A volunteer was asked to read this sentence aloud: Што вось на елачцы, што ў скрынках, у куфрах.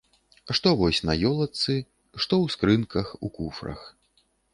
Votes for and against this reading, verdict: 1, 2, rejected